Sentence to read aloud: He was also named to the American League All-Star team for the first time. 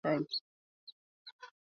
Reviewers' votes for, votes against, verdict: 0, 2, rejected